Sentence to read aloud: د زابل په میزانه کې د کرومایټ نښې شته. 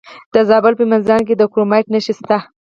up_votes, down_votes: 2, 4